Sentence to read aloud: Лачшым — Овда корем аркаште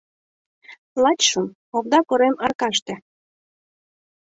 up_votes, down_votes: 2, 0